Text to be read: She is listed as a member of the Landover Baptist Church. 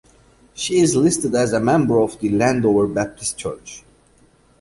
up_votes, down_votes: 2, 0